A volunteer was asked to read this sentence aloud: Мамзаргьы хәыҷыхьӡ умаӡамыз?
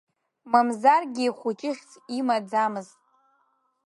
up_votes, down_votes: 0, 2